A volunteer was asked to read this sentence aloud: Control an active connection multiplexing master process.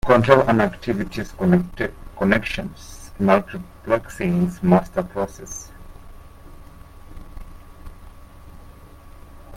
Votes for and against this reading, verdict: 0, 2, rejected